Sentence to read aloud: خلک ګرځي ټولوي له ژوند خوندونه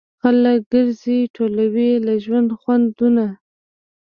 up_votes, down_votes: 1, 2